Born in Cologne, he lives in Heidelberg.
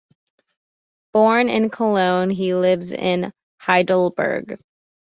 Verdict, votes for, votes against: accepted, 2, 0